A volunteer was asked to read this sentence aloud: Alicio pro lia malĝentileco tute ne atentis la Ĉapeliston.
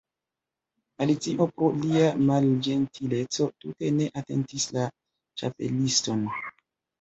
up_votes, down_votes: 2, 1